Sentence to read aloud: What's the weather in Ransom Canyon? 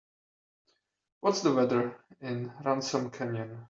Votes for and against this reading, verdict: 3, 1, accepted